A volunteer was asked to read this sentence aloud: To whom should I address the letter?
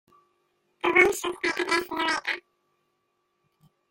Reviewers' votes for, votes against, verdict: 0, 2, rejected